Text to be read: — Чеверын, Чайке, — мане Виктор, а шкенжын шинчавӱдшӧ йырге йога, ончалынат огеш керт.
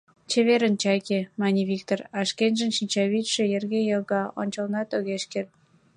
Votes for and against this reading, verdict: 2, 1, accepted